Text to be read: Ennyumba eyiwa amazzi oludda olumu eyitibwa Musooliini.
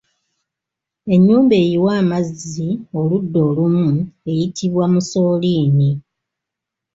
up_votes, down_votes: 2, 0